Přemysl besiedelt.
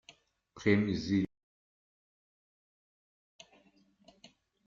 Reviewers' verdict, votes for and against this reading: rejected, 0, 2